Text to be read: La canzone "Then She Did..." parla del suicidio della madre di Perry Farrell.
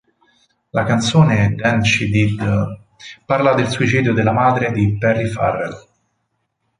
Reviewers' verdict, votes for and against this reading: accepted, 2, 0